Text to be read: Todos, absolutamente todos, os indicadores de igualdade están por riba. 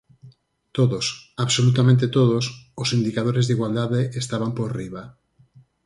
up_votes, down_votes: 0, 4